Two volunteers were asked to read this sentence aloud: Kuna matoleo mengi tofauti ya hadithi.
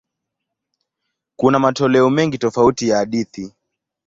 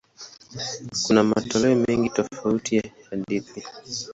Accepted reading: first